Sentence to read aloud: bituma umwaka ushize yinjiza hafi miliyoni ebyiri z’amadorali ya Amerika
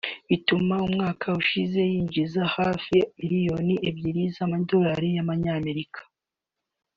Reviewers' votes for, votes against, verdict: 2, 0, accepted